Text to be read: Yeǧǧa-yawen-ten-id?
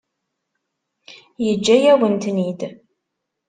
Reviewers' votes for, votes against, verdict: 2, 0, accepted